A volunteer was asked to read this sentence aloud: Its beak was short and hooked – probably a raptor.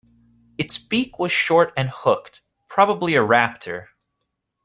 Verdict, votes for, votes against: accepted, 2, 0